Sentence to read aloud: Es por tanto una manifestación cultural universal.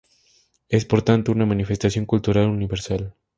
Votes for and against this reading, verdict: 2, 0, accepted